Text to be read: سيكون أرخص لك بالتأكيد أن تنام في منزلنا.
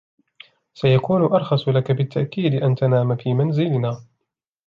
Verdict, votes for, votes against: accepted, 2, 0